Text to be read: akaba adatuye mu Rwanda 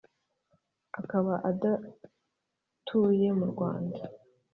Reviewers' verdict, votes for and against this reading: accepted, 2, 0